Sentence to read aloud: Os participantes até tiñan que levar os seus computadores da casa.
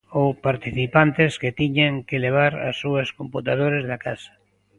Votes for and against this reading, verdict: 0, 2, rejected